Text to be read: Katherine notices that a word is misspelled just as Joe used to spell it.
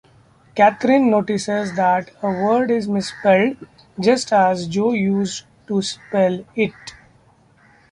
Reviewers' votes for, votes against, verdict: 2, 1, accepted